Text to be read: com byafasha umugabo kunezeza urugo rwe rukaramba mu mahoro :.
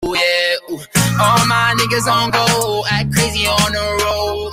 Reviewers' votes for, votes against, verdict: 0, 2, rejected